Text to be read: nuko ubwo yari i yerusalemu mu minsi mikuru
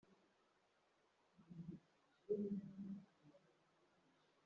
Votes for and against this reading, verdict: 1, 2, rejected